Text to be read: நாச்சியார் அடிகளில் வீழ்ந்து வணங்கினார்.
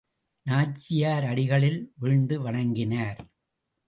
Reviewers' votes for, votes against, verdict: 2, 2, rejected